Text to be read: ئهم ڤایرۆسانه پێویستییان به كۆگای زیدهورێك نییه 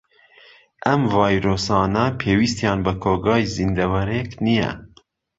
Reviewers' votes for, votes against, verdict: 1, 2, rejected